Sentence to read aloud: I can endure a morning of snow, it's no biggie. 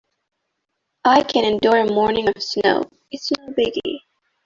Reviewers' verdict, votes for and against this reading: rejected, 1, 2